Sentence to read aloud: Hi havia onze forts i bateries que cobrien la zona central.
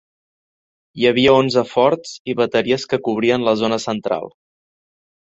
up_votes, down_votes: 2, 0